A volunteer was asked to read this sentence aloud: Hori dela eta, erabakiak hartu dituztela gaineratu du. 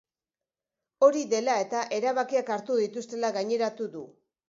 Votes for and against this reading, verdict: 2, 0, accepted